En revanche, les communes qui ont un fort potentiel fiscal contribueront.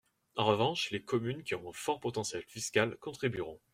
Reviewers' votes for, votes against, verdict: 2, 0, accepted